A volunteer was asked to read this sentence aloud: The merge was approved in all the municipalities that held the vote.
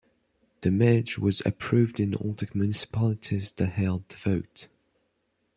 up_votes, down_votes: 2, 0